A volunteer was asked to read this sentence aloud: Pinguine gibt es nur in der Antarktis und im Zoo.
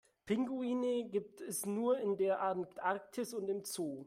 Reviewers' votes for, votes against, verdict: 2, 0, accepted